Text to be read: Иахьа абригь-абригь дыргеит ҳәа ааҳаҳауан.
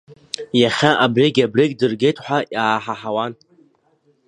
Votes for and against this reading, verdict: 1, 2, rejected